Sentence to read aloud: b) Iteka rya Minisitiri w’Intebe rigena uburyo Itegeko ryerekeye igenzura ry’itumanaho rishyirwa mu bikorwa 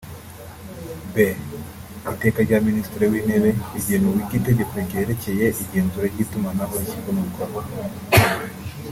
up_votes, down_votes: 2, 0